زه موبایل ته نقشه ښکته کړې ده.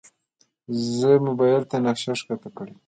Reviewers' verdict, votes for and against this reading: rejected, 0, 2